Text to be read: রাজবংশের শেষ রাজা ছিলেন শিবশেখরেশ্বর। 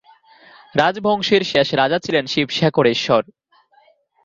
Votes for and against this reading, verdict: 2, 1, accepted